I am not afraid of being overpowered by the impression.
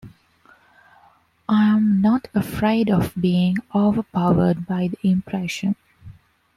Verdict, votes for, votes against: accepted, 2, 0